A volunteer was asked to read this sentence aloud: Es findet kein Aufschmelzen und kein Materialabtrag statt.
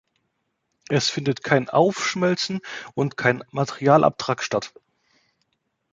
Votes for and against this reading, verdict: 2, 0, accepted